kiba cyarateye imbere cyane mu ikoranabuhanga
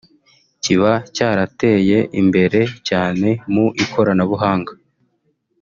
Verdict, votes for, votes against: rejected, 1, 2